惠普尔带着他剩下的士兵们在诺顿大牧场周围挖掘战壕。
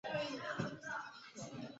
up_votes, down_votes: 0, 3